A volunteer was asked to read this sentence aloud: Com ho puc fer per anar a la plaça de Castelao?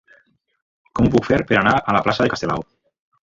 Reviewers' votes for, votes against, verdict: 1, 3, rejected